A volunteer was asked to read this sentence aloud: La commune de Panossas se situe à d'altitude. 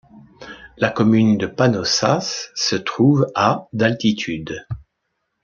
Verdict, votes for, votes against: rejected, 0, 2